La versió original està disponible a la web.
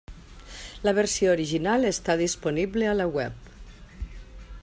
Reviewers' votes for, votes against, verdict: 3, 0, accepted